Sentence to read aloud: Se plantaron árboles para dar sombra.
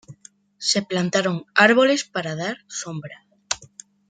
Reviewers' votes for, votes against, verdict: 2, 0, accepted